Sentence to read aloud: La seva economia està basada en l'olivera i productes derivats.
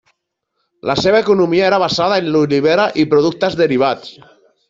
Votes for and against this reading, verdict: 0, 2, rejected